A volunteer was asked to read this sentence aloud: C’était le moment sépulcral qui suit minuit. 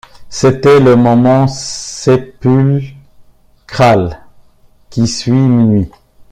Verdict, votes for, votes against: rejected, 0, 2